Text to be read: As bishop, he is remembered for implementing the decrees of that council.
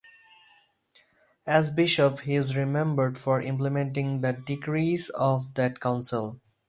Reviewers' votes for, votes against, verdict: 4, 0, accepted